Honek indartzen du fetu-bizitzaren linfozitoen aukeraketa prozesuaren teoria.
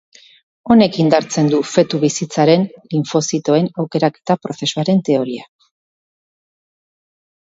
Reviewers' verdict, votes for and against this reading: rejected, 2, 2